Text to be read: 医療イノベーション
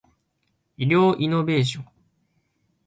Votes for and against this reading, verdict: 1, 2, rejected